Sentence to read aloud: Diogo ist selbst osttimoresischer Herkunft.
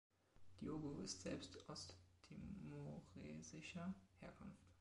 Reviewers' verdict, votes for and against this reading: rejected, 1, 2